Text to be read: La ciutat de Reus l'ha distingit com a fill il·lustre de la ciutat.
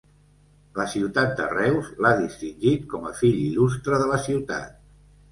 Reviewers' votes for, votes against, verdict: 2, 0, accepted